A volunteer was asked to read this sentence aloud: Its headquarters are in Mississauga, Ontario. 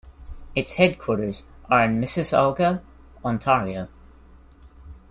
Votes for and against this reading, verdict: 3, 0, accepted